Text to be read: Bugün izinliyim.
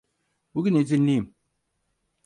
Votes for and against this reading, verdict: 4, 0, accepted